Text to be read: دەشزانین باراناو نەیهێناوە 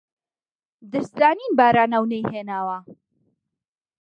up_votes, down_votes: 0, 2